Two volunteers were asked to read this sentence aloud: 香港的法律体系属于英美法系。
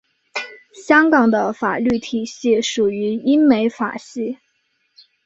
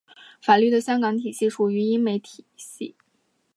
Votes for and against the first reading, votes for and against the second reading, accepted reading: 2, 0, 1, 2, first